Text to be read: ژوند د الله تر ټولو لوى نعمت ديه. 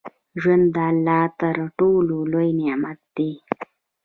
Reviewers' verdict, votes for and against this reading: rejected, 1, 2